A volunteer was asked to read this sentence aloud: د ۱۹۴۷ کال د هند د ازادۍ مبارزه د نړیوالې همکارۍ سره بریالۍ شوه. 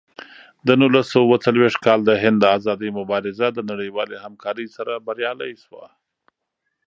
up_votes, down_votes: 0, 2